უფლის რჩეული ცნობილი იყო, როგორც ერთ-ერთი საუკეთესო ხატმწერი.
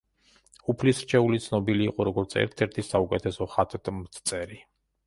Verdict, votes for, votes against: rejected, 0, 2